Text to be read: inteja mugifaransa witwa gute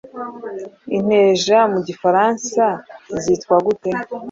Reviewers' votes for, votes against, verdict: 1, 2, rejected